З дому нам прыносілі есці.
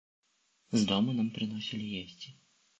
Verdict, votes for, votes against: rejected, 1, 2